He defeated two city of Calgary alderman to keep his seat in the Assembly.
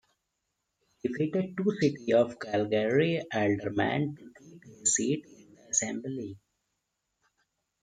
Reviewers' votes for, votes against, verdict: 0, 2, rejected